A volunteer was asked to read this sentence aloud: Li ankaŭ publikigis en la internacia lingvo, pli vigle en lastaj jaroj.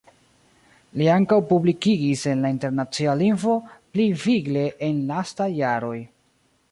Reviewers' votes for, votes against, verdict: 1, 2, rejected